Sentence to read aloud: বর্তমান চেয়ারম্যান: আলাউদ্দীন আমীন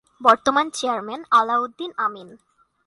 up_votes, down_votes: 2, 0